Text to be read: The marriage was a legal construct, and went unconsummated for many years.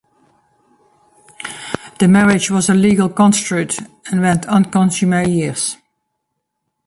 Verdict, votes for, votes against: rejected, 0, 2